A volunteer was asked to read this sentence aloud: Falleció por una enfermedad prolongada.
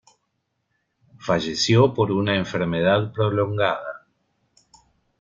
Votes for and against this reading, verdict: 2, 0, accepted